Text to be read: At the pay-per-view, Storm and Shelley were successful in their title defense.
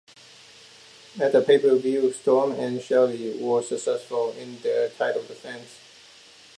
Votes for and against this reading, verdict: 2, 1, accepted